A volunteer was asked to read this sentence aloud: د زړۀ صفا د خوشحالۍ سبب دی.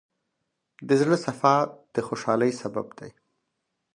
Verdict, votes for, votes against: accepted, 4, 0